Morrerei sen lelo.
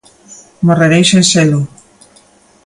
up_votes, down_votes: 0, 2